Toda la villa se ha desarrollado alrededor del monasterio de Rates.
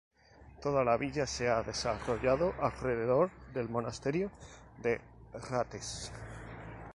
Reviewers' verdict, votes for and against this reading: rejected, 0, 2